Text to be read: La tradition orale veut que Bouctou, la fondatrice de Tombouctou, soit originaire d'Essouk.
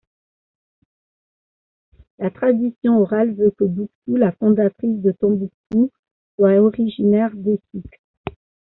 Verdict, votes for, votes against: accepted, 2, 1